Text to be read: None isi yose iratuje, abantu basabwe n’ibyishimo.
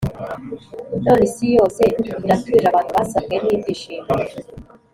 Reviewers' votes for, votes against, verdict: 3, 0, accepted